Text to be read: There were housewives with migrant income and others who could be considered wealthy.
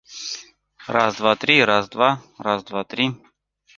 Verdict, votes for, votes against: rejected, 0, 2